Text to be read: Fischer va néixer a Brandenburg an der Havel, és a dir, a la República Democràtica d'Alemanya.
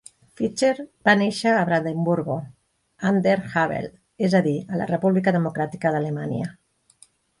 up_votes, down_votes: 0, 2